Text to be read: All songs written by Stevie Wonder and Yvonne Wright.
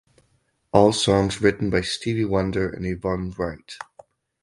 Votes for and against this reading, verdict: 4, 0, accepted